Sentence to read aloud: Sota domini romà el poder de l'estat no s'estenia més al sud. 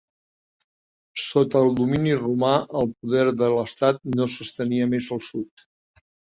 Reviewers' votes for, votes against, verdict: 1, 2, rejected